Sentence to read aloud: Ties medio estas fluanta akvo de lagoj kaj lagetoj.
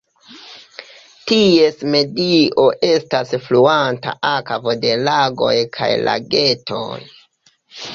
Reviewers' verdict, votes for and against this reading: accepted, 2, 1